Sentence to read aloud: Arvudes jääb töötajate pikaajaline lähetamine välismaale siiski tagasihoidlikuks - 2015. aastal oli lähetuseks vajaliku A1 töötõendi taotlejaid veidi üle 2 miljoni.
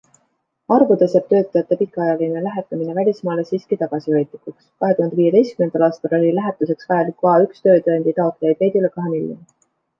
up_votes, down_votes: 0, 2